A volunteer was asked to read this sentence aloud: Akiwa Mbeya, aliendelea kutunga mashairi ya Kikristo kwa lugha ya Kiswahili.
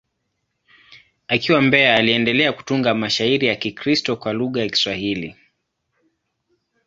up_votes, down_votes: 2, 0